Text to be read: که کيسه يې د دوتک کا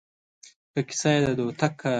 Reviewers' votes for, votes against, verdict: 1, 2, rejected